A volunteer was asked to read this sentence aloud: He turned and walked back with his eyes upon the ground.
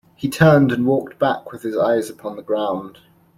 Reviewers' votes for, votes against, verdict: 2, 0, accepted